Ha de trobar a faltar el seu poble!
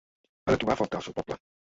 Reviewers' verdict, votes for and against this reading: rejected, 0, 2